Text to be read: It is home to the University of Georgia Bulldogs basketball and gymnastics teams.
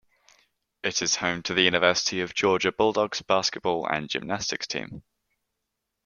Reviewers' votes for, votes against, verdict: 1, 2, rejected